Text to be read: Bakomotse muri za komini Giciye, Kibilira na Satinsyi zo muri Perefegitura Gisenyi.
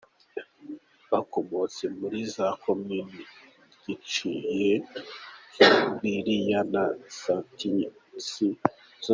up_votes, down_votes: 0, 2